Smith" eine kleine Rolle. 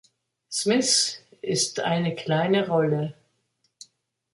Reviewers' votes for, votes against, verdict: 1, 3, rejected